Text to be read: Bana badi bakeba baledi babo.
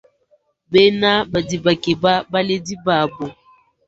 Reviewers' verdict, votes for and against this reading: rejected, 0, 2